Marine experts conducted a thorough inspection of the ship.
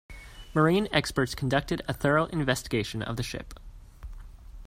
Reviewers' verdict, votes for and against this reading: rejected, 0, 2